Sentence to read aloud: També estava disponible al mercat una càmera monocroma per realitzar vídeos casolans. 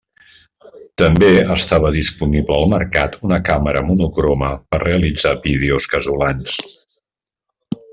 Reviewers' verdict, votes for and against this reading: accepted, 3, 0